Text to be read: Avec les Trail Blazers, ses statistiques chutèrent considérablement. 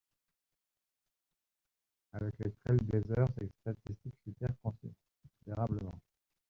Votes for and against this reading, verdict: 0, 2, rejected